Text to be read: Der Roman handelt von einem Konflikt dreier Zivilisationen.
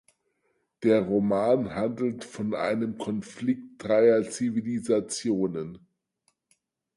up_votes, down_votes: 4, 0